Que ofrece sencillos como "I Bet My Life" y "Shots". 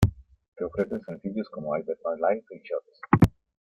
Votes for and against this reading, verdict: 2, 0, accepted